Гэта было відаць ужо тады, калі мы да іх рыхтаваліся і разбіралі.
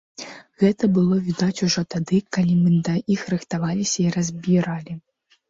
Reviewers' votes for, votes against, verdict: 2, 0, accepted